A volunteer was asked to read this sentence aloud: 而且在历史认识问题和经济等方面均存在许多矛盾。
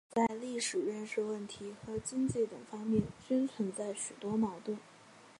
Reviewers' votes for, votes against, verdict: 0, 2, rejected